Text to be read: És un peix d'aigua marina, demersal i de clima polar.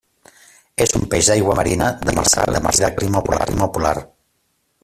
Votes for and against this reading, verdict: 0, 2, rejected